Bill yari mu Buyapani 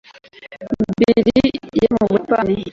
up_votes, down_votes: 1, 2